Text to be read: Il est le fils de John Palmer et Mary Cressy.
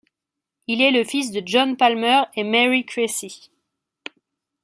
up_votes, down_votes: 2, 0